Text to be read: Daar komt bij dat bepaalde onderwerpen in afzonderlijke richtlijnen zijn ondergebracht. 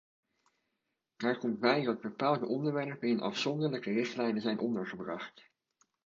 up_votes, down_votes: 2, 1